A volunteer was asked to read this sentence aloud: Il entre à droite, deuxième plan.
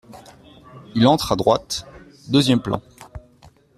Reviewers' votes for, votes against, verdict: 2, 0, accepted